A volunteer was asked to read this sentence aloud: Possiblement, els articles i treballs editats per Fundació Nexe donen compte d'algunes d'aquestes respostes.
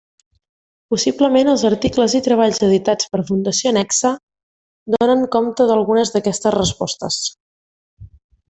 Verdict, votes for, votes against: accepted, 2, 0